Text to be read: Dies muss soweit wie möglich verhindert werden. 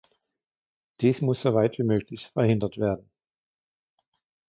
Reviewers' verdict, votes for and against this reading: accepted, 2, 0